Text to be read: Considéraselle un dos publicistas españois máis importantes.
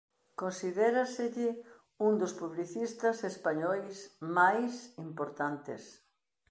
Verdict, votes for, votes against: accepted, 2, 0